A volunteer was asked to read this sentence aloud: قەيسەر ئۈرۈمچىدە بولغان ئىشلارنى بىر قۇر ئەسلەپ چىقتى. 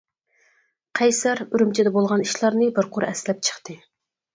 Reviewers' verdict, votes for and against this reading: accepted, 4, 0